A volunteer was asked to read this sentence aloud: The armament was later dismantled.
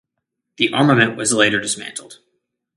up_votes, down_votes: 2, 0